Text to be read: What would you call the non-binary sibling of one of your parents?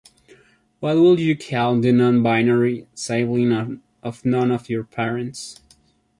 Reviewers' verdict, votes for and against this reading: rejected, 1, 2